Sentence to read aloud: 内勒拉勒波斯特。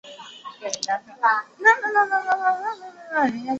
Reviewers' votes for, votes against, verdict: 0, 2, rejected